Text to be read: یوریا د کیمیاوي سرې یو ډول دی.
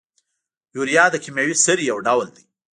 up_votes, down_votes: 1, 2